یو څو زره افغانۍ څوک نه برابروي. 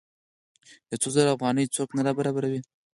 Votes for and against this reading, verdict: 4, 2, accepted